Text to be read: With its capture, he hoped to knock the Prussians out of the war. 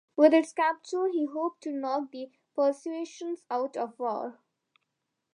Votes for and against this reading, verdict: 0, 2, rejected